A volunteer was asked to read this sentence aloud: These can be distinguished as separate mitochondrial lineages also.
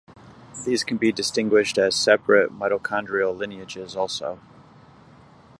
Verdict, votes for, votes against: accepted, 2, 0